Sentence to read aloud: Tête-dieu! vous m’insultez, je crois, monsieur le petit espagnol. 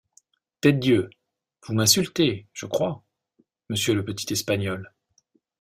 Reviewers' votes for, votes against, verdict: 2, 0, accepted